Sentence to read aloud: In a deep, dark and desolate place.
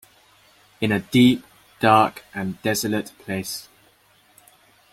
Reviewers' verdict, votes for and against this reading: accepted, 2, 0